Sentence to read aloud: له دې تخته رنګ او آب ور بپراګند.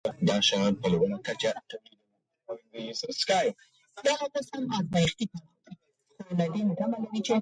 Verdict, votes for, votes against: rejected, 1, 2